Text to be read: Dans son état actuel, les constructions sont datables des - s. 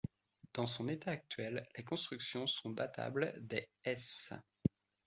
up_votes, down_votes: 2, 1